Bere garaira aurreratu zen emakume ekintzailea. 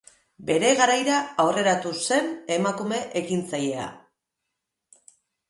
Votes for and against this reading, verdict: 4, 0, accepted